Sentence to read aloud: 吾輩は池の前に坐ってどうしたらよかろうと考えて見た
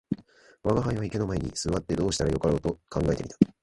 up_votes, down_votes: 2, 1